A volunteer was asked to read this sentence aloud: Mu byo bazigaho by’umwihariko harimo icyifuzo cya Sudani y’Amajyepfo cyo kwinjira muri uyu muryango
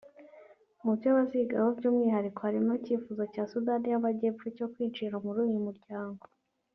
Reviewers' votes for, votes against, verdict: 2, 1, accepted